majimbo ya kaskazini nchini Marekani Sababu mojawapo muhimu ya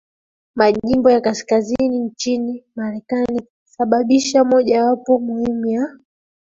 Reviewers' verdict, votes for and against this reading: rejected, 0, 2